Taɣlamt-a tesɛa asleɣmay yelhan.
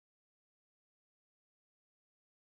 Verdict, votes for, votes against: rejected, 0, 2